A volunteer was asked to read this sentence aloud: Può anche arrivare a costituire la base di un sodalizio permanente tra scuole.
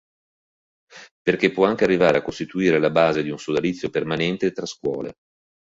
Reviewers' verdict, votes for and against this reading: rejected, 1, 2